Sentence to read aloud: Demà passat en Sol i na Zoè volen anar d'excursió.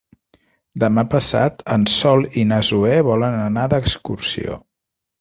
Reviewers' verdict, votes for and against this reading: accepted, 3, 0